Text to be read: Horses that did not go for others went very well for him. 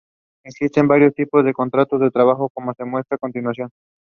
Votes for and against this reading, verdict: 0, 2, rejected